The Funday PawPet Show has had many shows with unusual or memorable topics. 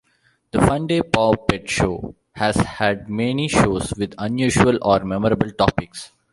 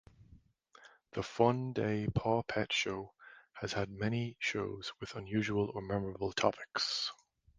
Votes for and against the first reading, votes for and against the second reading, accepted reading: 1, 2, 2, 0, second